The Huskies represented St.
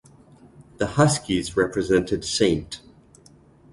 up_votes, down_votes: 2, 0